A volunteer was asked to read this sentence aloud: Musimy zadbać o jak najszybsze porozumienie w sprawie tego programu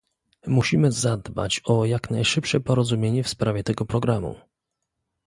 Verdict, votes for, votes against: accepted, 2, 0